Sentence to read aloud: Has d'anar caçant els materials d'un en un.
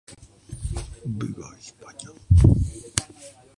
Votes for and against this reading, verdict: 0, 2, rejected